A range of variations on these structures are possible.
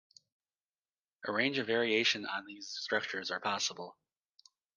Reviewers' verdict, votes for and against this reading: accepted, 2, 0